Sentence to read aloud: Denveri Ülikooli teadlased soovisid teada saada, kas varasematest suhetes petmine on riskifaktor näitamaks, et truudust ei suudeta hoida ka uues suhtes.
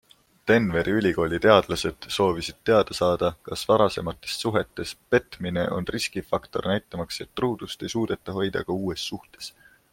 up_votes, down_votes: 2, 0